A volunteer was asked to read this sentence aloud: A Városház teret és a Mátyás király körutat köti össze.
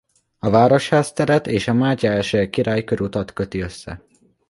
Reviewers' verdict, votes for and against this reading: accepted, 2, 0